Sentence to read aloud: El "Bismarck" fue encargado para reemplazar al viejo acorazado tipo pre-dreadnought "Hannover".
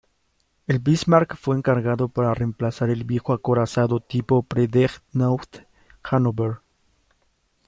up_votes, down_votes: 1, 2